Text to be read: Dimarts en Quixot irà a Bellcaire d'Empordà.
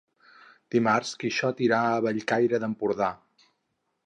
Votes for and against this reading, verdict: 2, 4, rejected